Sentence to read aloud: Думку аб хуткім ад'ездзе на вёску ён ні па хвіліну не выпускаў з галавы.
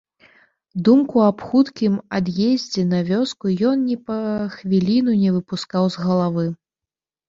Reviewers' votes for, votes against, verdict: 2, 0, accepted